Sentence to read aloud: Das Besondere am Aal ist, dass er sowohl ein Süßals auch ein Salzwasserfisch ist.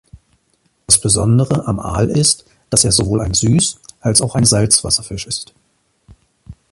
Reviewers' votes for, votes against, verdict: 2, 0, accepted